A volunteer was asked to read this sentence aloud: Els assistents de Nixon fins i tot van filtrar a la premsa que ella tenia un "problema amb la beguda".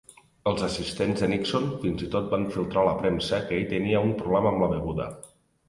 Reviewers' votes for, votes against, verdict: 1, 2, rejected